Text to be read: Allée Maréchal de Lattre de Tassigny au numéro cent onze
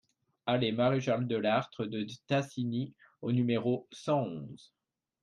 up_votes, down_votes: 1, 2